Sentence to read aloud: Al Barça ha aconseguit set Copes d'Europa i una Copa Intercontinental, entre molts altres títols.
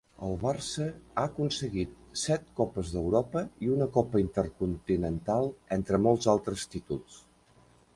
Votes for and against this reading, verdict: 2, 0, accepted